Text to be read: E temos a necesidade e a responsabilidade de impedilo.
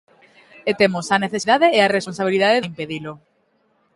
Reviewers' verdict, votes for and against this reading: rejected, 1, 2